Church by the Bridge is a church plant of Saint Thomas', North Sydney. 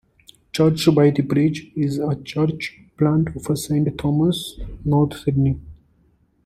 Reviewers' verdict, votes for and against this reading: rejected, 1, 2